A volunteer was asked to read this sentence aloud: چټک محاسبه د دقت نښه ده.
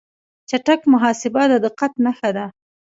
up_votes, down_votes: 2, 0